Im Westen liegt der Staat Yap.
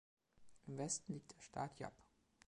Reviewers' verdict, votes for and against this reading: accepted, 2, 1